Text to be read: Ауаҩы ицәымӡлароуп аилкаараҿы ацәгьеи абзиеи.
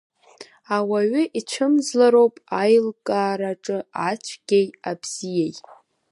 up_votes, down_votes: 3, 0